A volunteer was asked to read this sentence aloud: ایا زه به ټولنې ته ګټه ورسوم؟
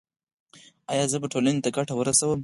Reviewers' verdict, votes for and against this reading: accepted, 4, 0